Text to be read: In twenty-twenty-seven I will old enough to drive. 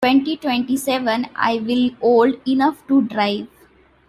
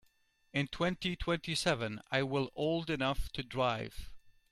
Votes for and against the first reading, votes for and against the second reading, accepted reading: 0, 2, 2, 0, second